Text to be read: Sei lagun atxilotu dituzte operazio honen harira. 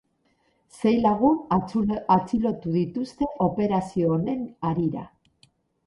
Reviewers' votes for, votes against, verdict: 0, 4, rejected